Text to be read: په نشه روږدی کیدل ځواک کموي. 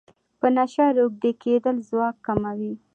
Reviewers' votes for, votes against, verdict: 2, 0, accepted